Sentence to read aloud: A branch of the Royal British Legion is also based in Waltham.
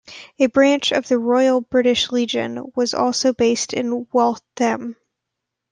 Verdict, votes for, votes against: rejected, 0, 2